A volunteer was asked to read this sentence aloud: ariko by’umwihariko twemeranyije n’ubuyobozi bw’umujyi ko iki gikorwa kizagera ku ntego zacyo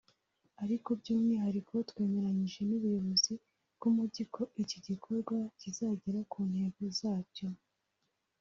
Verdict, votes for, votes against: accepted, 2, 0